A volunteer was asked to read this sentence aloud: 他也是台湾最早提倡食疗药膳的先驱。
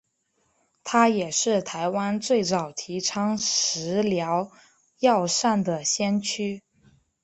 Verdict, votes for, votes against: accepted, 2, 1